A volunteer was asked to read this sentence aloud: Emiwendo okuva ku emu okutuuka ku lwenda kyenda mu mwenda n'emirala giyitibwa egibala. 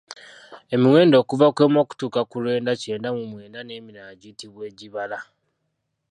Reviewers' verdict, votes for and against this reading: rejected, 0, 2